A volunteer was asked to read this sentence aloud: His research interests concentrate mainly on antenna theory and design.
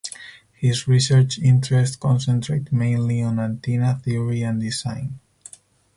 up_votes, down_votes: 2, 2